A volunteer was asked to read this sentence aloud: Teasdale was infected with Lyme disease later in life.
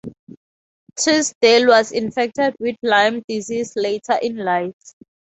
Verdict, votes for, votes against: accepted, 4, 0